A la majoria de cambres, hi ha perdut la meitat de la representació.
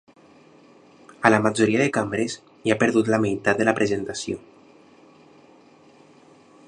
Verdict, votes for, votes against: rejected, 0, 2